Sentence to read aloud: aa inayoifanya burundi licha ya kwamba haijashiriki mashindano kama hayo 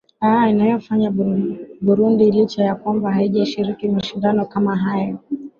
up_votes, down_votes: 2, 0